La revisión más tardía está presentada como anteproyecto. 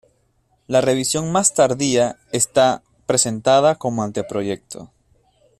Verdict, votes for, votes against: accepted, 2, 0